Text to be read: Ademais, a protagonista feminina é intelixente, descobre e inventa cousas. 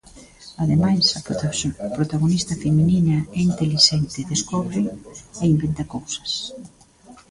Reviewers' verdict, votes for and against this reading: rejected, 0, 2